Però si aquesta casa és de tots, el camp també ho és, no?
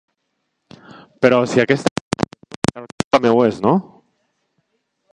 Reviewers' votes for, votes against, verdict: 0, 2, rejected